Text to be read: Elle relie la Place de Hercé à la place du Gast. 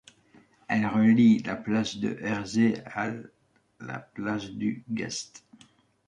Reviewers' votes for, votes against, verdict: 2, 1, accepted